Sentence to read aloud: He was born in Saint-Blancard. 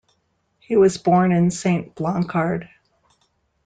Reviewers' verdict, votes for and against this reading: accepted, 2, 0